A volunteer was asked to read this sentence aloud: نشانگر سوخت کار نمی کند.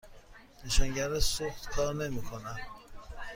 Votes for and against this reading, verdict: 2, 0, accepted